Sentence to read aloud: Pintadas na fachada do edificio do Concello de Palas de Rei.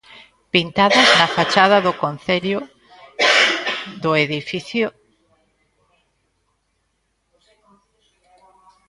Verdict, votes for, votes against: rejected, 0, 2